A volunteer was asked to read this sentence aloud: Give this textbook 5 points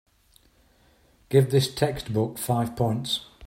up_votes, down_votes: 0, 2